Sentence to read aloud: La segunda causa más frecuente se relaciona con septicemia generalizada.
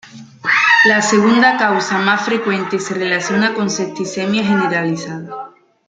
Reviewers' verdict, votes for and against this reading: rejected, 1, 2